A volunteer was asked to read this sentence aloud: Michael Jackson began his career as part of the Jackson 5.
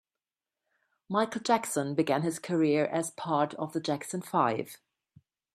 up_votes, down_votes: 0, 2